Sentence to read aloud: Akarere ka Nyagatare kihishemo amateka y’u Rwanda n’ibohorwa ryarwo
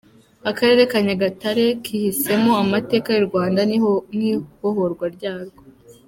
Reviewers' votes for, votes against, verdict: 0, 2, rejected